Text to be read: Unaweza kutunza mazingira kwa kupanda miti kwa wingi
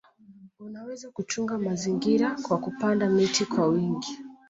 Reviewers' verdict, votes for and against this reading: accepted, 2, 1